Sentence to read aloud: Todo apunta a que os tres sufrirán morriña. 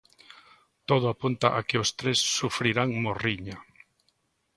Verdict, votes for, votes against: accepted, 2, 0